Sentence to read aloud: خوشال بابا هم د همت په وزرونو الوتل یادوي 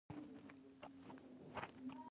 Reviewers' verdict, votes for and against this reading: rejected, 1, 2